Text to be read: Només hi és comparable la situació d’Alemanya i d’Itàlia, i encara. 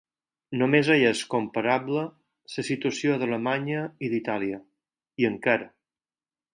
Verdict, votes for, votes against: accepted, 4, 0